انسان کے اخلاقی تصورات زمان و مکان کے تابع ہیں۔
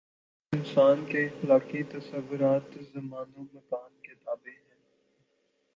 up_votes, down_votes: 1, 2